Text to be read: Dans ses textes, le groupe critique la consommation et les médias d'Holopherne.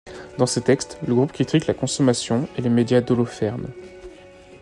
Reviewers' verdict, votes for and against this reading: accepted, 2, 1